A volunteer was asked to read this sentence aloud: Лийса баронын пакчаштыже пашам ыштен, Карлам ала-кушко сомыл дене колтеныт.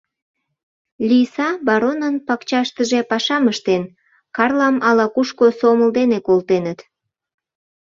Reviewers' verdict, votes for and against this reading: accepted, 2, 0